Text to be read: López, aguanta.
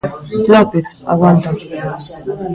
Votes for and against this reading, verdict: 0, 2, rejected